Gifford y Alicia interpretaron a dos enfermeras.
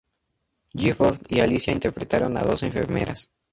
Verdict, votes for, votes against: accepted, 2, 0